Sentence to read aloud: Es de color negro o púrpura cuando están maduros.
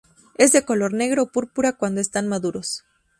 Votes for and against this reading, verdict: 2, 0, accepted